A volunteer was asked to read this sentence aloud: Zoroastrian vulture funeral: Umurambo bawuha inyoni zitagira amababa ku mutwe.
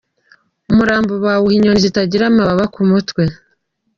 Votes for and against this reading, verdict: 0, 2, rejected